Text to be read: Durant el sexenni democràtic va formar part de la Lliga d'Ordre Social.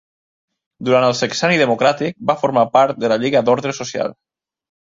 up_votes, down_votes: 2, 0